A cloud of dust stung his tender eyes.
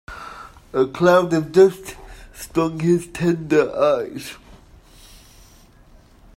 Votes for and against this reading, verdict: 2, 1, accepted